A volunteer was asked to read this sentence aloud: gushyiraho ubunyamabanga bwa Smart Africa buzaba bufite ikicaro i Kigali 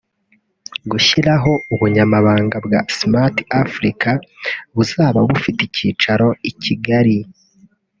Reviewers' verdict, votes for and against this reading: rejected, 0, 2